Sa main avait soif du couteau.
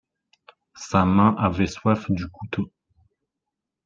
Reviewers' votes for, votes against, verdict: 2, 0, accepted